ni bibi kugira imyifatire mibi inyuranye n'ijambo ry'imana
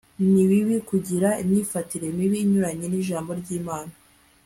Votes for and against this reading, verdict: 2, 0, accepted